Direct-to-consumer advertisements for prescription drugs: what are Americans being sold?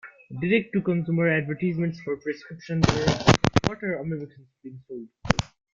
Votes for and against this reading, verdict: 0, 2, rejected